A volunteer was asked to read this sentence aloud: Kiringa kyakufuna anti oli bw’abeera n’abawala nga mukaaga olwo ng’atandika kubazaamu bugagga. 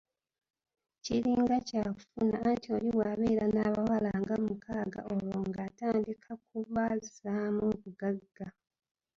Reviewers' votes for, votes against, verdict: 0, 2, rejected